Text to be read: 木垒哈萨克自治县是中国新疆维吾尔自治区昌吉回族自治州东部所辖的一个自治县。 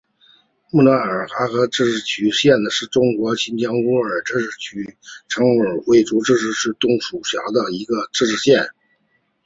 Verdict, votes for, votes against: rejected, 0, 2